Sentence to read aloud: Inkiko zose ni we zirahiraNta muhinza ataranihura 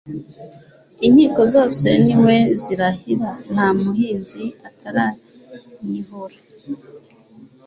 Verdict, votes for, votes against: accepted, 2, 0